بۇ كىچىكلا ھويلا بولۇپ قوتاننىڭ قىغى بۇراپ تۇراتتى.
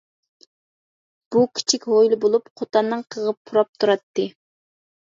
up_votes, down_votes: 1, 2